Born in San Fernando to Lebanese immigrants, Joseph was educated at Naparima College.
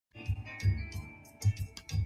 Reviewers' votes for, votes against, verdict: 0, 2, rejected